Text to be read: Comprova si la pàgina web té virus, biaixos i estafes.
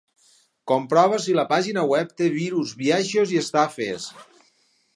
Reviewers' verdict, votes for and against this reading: accepted, 4, 0